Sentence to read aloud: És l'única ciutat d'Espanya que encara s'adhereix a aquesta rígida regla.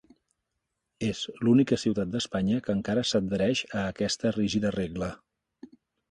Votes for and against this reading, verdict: 3, 0, accepted